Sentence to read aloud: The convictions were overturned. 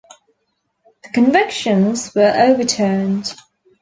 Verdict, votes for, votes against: accepted, 2, 0